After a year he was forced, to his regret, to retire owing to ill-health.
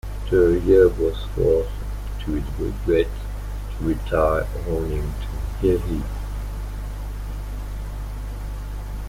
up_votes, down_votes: 0, 2